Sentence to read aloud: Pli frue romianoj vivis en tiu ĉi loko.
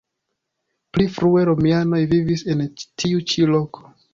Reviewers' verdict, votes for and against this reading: accepted, 2, 1